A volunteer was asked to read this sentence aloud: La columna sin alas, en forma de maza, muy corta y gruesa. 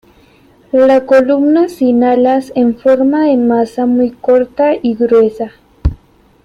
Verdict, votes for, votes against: accepted, 2, 1